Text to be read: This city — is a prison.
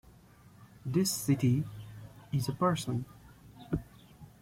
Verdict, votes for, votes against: rejected, 0, 2